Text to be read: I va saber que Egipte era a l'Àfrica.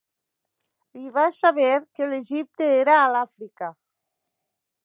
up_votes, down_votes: 0, 2